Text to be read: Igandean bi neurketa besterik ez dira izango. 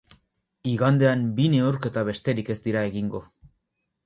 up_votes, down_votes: 0, 2